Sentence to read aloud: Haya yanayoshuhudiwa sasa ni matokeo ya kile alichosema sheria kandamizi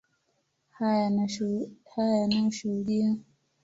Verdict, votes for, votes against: rejected, 1, 2